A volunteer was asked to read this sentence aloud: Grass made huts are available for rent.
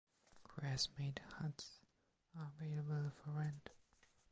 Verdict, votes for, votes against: rejected, 1, 2